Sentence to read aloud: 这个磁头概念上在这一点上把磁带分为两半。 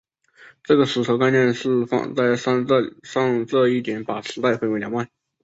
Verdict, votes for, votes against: rejected, 0, 2